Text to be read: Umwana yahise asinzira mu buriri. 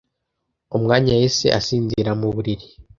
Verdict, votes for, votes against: rejected, 1, 2